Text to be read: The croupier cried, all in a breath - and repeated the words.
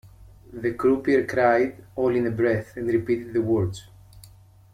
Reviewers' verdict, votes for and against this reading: accepted, 2, 0